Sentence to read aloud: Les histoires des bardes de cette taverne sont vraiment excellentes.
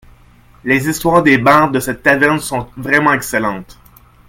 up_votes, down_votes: 1, 2